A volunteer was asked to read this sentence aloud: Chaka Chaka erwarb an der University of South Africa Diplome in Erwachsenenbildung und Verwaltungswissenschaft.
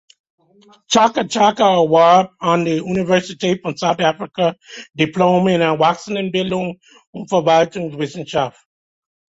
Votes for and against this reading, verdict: 2, 1, accepted